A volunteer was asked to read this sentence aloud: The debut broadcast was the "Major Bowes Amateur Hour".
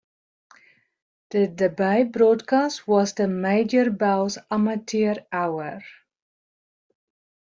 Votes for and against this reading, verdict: 0, 2, rejected